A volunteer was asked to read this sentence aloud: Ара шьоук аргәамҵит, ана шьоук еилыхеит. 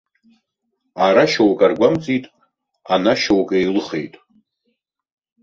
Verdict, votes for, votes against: accepted, 2, 0